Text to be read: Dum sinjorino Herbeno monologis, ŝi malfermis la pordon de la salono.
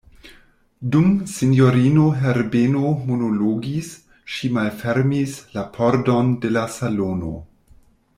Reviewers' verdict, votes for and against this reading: accepted, 2, 1